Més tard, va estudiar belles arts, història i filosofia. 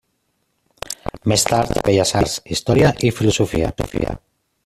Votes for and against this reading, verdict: 0, 2, rejected